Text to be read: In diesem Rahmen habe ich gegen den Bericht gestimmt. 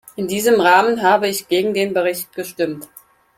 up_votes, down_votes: 4, 0